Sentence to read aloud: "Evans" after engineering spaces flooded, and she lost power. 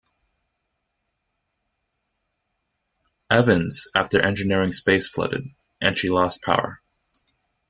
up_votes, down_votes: 2, 0